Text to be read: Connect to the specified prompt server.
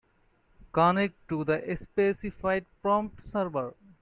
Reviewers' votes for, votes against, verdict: 1, 2, rejected